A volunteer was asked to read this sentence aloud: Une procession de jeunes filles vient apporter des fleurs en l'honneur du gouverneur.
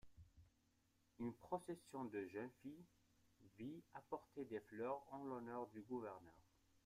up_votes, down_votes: 0, 2